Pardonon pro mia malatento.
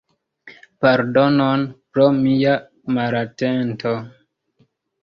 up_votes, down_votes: 1, 2